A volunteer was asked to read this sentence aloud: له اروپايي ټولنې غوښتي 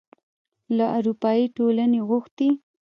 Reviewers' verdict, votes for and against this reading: rejected, 1, 2